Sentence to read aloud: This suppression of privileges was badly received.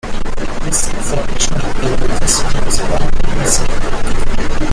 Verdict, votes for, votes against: rejected, 0, 2